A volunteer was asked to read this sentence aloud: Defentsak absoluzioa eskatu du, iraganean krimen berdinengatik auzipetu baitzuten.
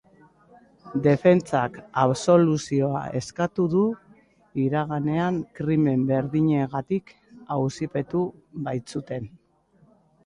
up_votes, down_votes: 2, 0